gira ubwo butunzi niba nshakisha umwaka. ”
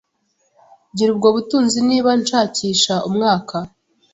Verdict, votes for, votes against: accepted, 2, 0